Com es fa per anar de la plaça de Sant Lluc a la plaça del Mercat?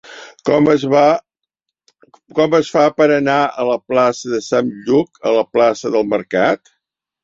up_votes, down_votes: 0, 2